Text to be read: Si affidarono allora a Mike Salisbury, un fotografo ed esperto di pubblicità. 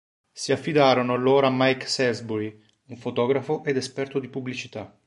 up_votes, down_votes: 1, 2